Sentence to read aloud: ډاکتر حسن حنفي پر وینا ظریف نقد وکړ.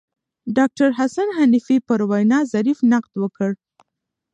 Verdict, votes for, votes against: rejected, 1, 2